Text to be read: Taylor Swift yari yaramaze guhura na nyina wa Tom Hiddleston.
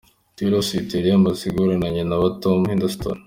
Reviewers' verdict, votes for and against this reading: accepted, 3, 1